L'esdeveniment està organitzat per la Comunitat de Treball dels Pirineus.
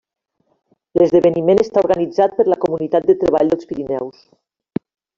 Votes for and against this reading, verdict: 1, 2, rejected